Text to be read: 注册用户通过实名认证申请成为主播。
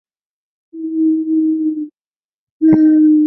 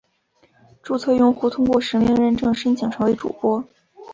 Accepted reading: second